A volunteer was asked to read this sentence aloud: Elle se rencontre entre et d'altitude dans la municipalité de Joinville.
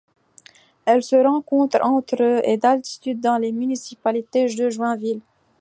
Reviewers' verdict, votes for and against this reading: accepted, 2, 1